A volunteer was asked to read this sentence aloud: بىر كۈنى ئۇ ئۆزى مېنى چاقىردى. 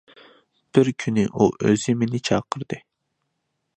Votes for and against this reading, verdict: 2, 0, accepted